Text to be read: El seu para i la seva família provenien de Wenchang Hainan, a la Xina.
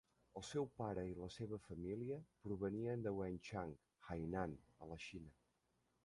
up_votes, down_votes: 1, 2